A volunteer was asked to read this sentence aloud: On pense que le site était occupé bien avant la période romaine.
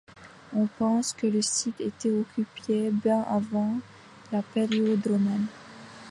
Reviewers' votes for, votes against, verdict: 0, 2, rejected